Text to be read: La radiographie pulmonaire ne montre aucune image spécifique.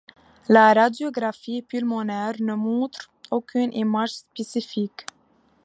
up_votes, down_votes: 2, 0